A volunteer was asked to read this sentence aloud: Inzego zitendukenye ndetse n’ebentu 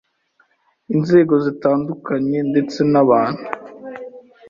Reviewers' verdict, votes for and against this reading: rejected, 0, 2